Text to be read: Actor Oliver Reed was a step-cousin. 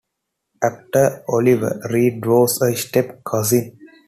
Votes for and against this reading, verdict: 3, 0, accepted